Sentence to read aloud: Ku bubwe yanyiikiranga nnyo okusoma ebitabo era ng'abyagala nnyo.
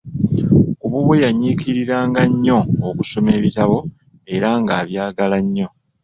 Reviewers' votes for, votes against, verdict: 1, 2, rejected